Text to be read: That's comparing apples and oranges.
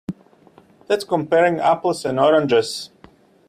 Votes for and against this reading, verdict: 2, 0, accepted